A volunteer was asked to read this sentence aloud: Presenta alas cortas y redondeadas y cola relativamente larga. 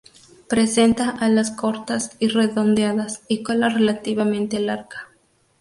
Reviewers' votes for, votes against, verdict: 2, 0, accepted